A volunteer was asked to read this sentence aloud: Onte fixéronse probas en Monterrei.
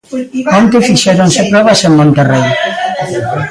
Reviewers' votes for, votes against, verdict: 1, 2, rejected